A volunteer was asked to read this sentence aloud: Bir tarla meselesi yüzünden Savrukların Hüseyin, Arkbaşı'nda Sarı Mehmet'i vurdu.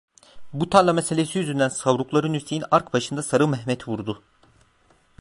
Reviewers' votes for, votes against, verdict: 1, 2, rejected